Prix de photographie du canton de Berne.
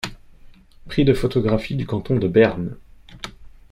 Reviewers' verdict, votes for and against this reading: accepted, 2, 0